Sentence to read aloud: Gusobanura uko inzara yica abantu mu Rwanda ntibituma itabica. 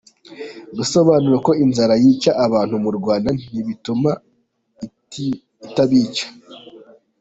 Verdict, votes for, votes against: rejected, 1, 2